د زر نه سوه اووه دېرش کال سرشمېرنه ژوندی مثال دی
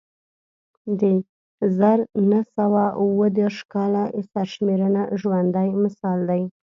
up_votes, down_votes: 2, 0